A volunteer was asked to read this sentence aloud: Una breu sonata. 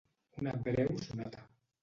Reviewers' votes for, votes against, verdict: 1, 2, rejected